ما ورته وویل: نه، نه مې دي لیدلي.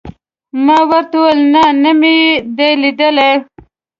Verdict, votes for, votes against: accepted, 2, 1